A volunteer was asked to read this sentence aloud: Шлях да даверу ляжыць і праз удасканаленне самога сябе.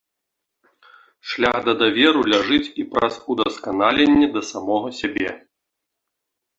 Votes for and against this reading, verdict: 1, 2, rejected